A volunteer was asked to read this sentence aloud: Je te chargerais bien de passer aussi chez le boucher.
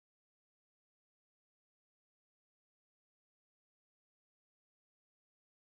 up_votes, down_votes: 0, 2